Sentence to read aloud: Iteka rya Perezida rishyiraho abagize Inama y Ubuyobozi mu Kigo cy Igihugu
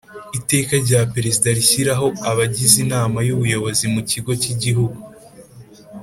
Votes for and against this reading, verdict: 3, 0, accepted